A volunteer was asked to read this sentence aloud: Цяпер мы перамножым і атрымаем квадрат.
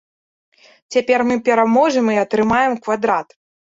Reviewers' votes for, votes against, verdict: 0, 2, rejected